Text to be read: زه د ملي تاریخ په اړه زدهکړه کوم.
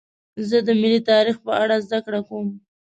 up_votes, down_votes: 2, 0